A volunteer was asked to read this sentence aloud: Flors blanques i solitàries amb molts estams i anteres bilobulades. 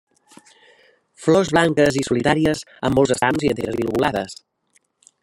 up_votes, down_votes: 0, 2